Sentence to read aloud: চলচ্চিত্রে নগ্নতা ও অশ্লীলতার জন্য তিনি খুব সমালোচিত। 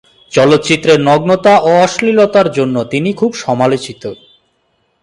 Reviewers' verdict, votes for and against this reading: accepted, 2, 0